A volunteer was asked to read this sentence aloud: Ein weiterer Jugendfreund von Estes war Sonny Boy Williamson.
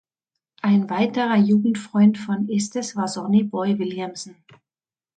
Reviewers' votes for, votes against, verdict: 2, 0, accepted